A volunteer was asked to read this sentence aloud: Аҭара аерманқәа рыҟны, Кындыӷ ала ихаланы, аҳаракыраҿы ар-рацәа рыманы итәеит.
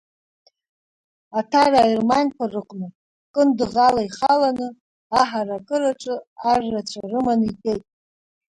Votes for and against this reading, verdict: 0, 2, rejected